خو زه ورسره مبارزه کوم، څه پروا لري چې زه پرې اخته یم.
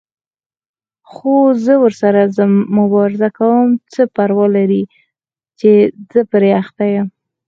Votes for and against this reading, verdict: 4, 2, accepted